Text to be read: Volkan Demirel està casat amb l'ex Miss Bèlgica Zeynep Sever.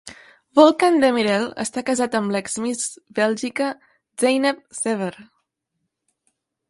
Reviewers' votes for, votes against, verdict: 2, 0, accepted